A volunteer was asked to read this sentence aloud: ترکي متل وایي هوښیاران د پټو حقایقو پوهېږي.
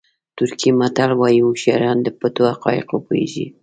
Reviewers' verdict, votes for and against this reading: accepted, 2, 0